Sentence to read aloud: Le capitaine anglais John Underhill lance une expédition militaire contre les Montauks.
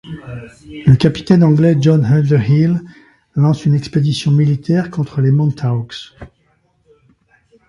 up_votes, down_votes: 2, 1